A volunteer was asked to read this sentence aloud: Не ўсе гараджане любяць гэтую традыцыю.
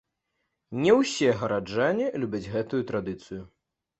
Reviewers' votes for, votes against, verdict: 3, 0, accepted